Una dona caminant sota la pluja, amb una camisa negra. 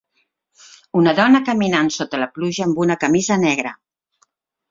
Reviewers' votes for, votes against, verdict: 2, 0, accepted